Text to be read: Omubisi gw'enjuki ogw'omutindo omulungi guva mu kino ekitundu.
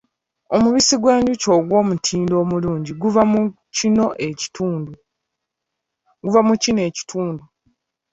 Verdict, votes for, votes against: rejected, 0, 2